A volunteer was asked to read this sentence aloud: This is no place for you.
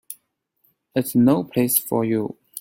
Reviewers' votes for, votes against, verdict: 2, 3, rejected